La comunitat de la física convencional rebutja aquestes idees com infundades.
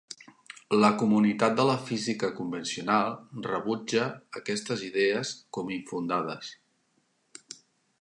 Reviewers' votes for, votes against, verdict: 2, 0, accepted